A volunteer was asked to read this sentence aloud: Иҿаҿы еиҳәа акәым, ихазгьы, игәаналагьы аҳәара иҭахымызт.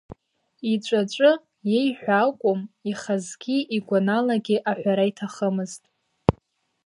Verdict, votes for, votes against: rejected, 1, 2